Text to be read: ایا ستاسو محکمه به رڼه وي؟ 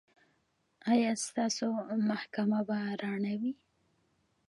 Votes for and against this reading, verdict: 2, 1, accepted